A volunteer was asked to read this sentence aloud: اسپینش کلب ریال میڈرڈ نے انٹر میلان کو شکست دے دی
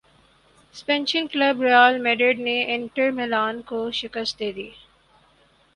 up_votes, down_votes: 0, 4